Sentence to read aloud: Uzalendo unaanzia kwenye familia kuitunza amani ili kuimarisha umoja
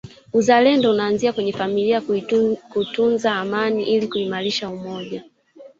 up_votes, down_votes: 2, 3